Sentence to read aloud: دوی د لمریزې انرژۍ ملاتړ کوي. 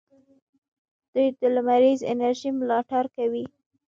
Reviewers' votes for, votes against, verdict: 2, 0, accepted